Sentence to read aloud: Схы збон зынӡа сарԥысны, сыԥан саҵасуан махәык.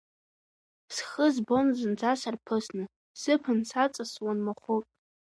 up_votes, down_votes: 2, 1